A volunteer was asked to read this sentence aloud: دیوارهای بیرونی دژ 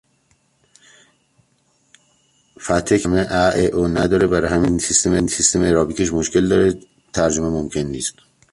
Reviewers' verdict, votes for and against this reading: rejected, 0, 2